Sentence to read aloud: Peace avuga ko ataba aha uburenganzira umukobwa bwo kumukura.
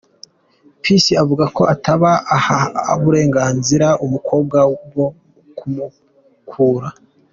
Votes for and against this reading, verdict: 2, 1, accepted